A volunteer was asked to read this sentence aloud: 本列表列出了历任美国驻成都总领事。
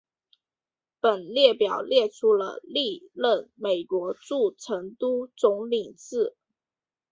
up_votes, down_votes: 2, 0